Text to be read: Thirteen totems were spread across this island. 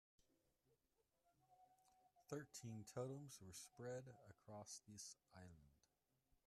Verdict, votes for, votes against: rejected, 1, 2